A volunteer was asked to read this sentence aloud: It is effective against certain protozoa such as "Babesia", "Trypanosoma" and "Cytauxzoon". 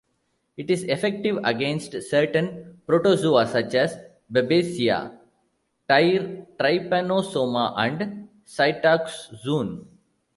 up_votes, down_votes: 1, 2